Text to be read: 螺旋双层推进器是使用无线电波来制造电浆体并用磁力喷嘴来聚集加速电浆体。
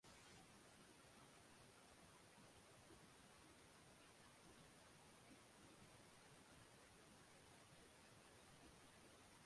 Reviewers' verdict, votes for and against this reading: rejected, 0, 3